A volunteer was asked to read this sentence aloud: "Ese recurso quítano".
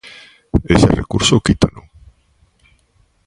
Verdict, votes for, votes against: rejected, 0, 3